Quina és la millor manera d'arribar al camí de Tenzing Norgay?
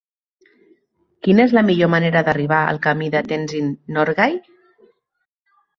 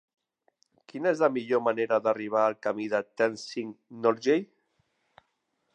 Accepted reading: first